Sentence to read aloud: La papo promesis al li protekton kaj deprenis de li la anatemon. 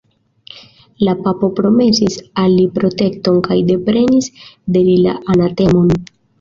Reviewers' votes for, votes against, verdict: 2, 0, accepted